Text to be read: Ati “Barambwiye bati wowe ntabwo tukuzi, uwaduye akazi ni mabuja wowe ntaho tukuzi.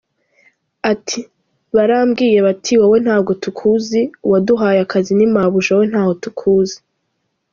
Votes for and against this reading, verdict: 2, 0, accepted